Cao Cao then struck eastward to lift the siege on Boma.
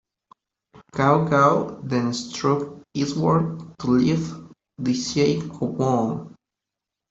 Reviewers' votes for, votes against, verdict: 0, 2, rejected